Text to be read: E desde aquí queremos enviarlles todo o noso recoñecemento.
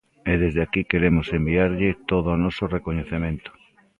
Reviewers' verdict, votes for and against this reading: rejected, 1, 2